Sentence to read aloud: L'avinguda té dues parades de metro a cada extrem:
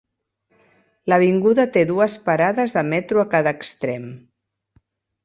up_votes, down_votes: 4, 0